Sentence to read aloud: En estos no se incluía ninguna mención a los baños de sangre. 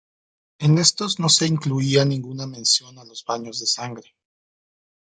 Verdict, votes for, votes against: accepted, 2, 0